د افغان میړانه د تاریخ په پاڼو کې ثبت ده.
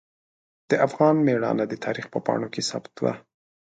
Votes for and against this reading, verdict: 2, 0, accepted